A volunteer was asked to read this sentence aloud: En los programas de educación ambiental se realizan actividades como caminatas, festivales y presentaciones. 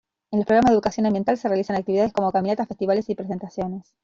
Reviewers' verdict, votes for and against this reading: rejected, 0, 2